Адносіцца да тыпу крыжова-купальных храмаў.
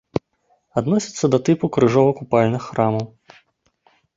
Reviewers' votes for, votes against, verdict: 1, 2, rejected